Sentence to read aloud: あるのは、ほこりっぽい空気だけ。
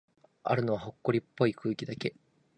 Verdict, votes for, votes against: rejected, 2, 3